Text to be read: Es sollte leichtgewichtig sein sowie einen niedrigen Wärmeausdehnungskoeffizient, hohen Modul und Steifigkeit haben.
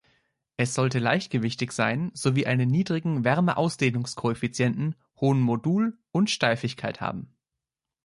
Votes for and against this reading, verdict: 2, 0, accepted